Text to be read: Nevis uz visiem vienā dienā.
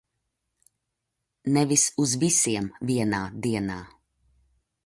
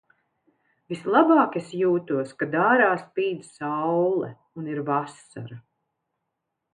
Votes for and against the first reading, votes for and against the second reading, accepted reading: 2, 1, 0, 2, first